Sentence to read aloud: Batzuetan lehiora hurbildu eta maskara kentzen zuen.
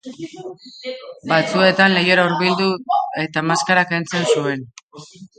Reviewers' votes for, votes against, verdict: 0, 2, rejected